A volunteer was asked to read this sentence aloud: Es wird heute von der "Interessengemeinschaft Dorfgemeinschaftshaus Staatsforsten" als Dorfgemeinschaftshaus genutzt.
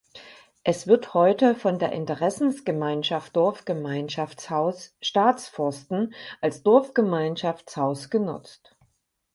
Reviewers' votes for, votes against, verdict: 2, 6, rejected